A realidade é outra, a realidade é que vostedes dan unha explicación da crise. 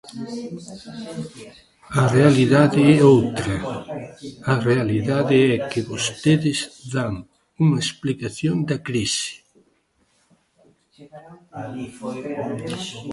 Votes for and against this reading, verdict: 1, 2, rejected